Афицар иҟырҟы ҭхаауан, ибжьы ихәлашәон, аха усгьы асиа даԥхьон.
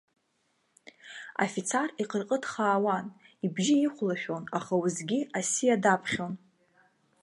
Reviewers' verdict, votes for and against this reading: rejected, 1, 2